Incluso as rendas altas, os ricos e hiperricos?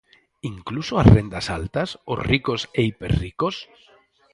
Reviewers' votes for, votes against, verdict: 0, 4, rejected